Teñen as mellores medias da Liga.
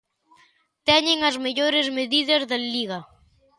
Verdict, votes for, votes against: rejected, 0, 2